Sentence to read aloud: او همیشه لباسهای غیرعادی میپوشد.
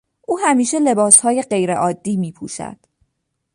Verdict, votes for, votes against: accepted, 2, 0